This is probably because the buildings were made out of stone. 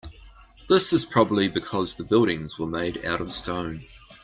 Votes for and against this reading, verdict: 2, 0, accepted